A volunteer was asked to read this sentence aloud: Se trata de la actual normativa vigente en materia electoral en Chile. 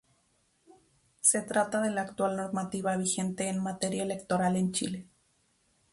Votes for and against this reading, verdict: 2, 0, accepted